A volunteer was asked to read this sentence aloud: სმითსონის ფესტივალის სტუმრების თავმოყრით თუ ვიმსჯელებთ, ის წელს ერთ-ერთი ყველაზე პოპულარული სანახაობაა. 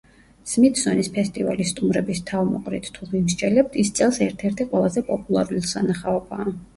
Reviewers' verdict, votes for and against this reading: accepted, 2, 0